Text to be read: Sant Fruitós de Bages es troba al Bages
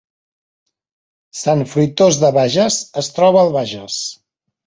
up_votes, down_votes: 3, 0